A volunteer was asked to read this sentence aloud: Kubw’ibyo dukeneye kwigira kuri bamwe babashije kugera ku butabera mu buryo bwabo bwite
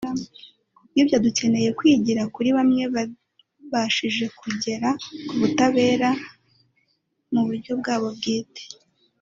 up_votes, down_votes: 2, 0